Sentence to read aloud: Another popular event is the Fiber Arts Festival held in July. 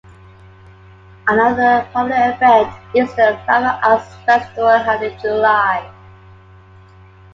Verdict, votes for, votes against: rejected, 1, 2